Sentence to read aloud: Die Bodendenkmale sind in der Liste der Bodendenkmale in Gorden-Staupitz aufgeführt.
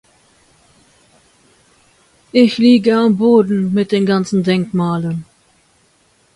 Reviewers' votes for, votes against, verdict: 0, 2, rejected